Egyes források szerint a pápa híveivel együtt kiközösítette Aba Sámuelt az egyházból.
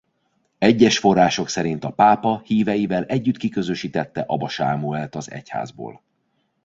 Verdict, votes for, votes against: accepted, 2, 0